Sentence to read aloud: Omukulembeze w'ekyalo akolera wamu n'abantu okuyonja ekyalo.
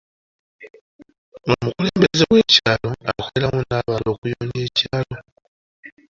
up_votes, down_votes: 0, 2